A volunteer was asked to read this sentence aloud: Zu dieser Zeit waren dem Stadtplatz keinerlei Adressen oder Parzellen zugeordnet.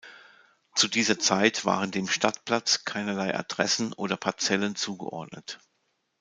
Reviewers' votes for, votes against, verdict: 2, 0, accepted